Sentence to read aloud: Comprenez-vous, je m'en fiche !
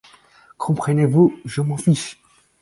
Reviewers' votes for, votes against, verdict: 4, 0, accepted